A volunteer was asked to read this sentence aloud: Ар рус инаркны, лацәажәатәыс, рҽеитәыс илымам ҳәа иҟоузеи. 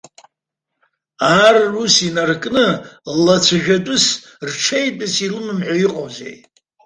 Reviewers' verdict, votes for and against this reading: rejected, 1, 2